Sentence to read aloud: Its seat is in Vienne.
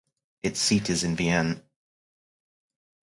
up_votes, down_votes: 4, 0